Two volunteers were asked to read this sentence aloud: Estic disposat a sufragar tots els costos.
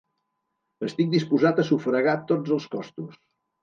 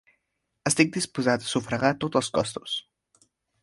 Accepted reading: first